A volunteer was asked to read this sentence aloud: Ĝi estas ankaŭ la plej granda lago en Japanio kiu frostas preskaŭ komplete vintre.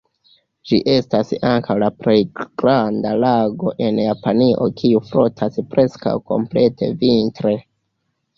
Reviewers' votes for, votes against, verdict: 1, 2, rejected